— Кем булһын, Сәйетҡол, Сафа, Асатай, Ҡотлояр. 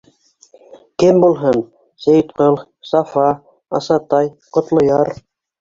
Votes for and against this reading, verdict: 1, 2, rejected